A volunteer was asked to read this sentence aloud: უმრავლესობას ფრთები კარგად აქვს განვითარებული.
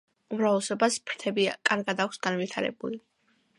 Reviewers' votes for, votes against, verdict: 2, 1, accepted